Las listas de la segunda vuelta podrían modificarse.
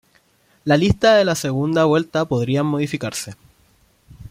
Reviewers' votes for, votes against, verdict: 1, 2, rejected